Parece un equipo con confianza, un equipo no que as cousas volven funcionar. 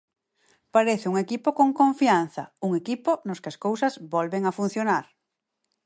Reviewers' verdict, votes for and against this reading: rejected, 0, 4